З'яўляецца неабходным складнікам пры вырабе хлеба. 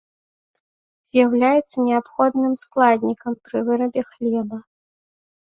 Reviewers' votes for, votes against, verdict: 2, 1, accepted